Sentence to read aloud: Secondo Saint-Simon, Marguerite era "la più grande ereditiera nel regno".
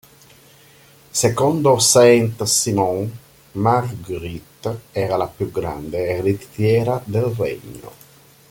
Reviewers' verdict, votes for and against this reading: rejected, 0, 2